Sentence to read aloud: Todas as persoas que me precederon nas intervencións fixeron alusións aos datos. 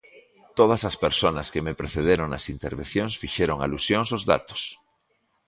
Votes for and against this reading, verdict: 0, 2, rejected